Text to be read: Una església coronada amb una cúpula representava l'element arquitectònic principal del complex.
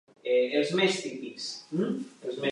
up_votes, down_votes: 0, 2